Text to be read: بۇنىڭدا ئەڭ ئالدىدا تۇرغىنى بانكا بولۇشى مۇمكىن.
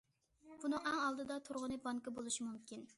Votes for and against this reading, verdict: 0, 2, rejected